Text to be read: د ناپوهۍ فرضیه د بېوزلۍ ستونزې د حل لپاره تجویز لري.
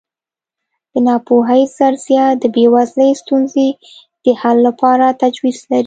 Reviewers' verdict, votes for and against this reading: accepted, 2, 0